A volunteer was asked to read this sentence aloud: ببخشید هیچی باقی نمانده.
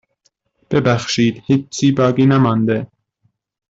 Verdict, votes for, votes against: rejected, 1, 2